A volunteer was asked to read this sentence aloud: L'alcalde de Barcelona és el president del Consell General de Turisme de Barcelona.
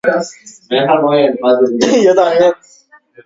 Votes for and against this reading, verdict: 0, 2, rejected